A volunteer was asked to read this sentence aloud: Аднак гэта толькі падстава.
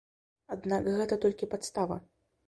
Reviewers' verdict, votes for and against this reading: accepted, 2, 0